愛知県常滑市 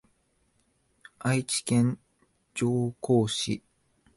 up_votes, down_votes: 1, 2